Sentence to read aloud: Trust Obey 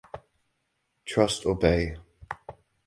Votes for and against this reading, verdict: 2, 2, rejected